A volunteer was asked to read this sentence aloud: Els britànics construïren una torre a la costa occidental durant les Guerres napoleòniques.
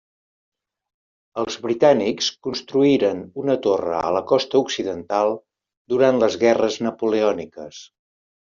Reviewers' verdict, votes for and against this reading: accepted, 3, 0